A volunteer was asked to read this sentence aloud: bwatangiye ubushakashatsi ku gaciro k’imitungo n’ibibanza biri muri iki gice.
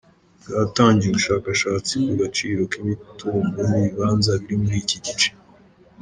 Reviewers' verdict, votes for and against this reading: rejected, 0, 2